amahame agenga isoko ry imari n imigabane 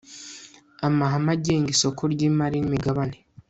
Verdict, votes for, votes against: accepted, 2, 0